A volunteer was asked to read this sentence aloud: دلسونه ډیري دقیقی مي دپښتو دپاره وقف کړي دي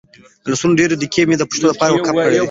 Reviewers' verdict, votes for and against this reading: rejected, 1, 2